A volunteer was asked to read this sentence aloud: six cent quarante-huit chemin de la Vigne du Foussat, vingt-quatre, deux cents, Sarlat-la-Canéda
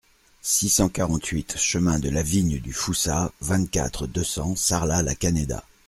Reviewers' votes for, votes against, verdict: 2, 0, accepted